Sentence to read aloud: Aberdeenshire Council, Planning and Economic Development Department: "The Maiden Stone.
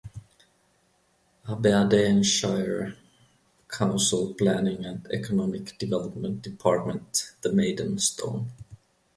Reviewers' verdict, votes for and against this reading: rejected, 1, 2